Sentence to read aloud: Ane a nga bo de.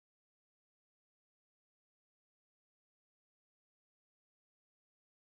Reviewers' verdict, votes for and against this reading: rejected, 0, 2